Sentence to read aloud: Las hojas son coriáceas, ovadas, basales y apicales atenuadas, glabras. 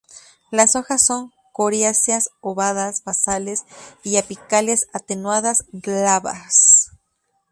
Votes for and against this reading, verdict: 2, 2, rejected